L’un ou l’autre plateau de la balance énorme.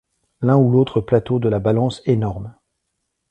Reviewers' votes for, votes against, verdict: 2, 0, accepted